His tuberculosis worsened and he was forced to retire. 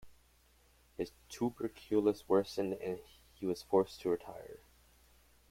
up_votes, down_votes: 0, 3